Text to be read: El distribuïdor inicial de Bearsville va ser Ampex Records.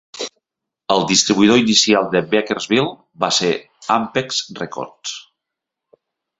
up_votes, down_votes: 1, 2